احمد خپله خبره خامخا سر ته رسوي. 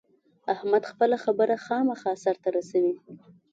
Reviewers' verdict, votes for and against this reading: accepted, 2, 0